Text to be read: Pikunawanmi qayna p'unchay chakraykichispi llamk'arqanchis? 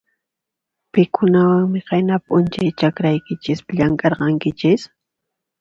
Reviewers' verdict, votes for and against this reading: accepted, 2, 0